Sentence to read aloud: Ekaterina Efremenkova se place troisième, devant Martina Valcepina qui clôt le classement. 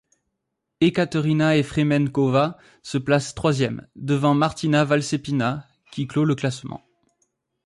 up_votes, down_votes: 2, 0